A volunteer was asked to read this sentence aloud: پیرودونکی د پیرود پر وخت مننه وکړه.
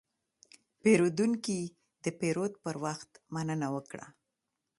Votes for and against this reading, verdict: 2, 0, accepted